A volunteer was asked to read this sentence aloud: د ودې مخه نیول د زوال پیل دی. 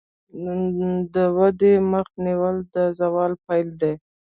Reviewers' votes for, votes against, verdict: 2, 0, accepted